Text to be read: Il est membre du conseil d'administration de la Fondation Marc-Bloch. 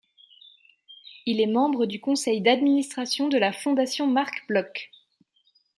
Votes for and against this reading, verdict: 1, 2, rejected